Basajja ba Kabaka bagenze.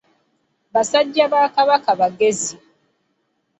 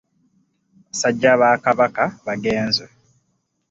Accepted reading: second